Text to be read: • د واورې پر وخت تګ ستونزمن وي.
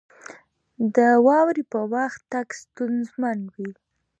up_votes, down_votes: 2, 1